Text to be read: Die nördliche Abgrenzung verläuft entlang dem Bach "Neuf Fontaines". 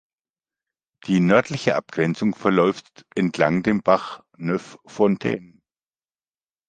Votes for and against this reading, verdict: 2, 0, accepted